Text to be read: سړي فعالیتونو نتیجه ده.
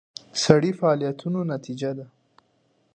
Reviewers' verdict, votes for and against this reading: accepted, 2, 0